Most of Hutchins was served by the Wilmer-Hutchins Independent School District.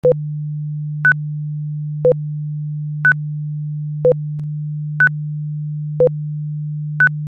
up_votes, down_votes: 0, 2